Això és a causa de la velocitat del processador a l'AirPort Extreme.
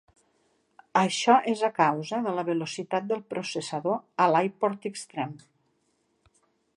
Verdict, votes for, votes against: accepted, 3, 0